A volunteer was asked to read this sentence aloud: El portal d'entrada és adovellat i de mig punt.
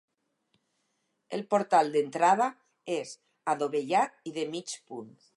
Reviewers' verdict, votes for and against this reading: accepted, 4, 0